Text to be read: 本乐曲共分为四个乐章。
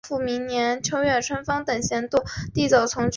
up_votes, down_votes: 0, 2